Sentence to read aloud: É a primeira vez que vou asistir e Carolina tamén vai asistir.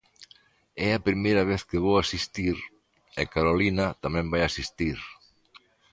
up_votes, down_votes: 2, 0